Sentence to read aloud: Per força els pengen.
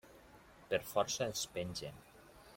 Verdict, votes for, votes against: accepted, 2, 0